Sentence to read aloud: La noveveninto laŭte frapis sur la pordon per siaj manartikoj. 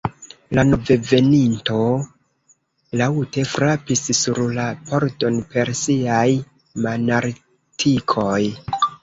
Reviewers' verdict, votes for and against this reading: rejected, 0, 2